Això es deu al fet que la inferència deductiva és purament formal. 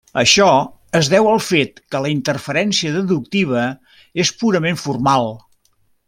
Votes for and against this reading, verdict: 1, 2, rejected